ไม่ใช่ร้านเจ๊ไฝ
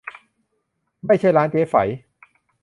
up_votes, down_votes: 2, 0